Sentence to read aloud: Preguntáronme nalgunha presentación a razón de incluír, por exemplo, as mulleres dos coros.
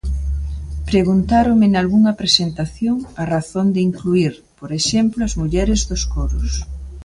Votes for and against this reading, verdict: 2, 0, accepted